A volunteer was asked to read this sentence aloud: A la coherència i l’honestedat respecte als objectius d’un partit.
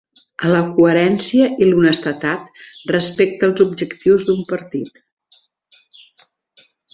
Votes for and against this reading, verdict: 0, 2, rejected